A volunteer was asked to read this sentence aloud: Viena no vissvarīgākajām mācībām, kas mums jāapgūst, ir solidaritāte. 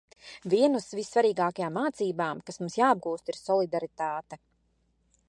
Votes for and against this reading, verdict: 1, 3, rejected